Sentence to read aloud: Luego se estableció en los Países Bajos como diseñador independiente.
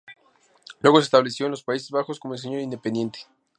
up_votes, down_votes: 2, 6